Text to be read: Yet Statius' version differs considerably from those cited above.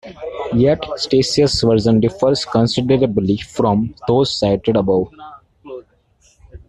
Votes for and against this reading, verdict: 1, 2, rejected